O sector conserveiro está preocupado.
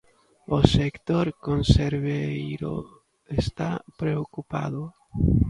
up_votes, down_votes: 0, 2